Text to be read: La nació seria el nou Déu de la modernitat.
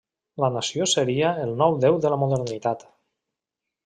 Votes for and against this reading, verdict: 3, 0, accepted